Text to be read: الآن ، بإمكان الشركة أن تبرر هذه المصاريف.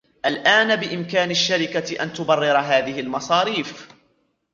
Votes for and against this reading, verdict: 1, 2, rejected